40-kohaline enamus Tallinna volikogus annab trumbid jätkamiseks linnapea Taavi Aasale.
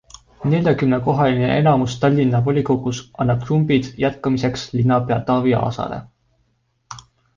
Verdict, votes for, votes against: rejected, 0, 2